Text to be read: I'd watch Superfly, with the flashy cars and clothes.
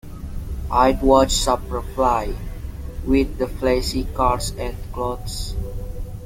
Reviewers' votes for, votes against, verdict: 2, 0, accepted